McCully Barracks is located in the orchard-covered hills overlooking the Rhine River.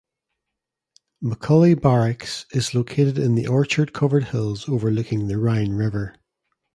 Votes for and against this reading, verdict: 2, 0, accepted